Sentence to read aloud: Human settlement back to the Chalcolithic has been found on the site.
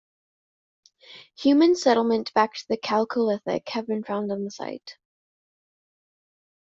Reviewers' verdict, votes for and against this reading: rejected, 1, 2